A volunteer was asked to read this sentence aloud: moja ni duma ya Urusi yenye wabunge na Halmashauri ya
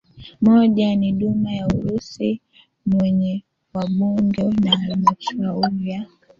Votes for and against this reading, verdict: 1, 2, rejected